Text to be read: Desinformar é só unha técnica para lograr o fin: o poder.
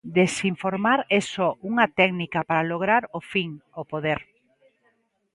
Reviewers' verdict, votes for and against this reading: accepted, 2, 0